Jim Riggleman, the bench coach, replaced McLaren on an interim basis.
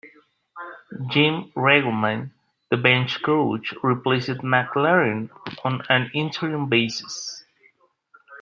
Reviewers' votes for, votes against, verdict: 2, 0, accepted